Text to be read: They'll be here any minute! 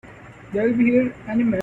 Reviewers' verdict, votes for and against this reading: rejected, 1, 2